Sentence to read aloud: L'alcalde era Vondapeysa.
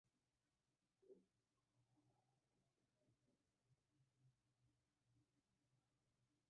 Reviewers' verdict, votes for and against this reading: rejected, 0, 2